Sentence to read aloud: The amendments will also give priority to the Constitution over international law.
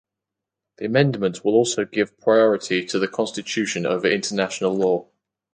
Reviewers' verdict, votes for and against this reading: accepted, 4, 0